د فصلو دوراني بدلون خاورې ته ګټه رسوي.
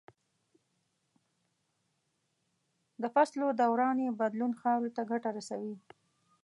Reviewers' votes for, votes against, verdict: 0, 2, rejected